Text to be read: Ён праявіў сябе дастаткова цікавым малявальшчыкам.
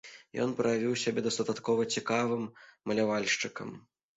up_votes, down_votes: 1, 2